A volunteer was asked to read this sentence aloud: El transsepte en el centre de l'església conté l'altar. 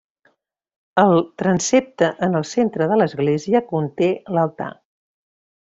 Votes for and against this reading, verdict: 2, 1, accepted